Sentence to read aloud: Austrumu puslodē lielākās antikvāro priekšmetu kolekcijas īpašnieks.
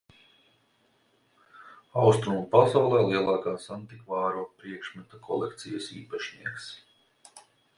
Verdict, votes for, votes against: rejected, 0, 3